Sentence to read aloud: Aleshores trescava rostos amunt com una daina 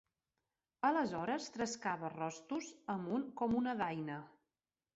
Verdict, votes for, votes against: accepted, 2, 1